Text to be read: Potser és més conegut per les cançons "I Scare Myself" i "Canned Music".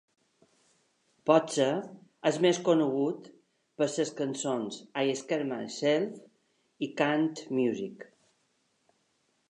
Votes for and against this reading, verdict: 0, 2, rejected